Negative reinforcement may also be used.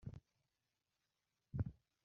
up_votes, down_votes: 0, 2